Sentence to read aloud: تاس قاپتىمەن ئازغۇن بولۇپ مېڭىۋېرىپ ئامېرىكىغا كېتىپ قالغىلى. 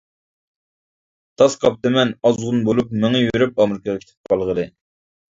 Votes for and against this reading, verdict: 0, 2, rejected